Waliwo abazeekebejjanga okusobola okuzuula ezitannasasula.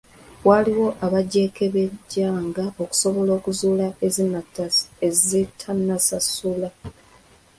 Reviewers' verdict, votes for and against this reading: rejected, 0, 2